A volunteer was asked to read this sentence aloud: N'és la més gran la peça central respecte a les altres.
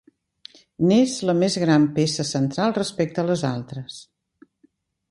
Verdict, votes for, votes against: rejected, 0, 2